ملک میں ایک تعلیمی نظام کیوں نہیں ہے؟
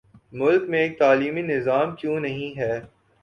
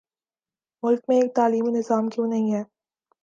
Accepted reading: second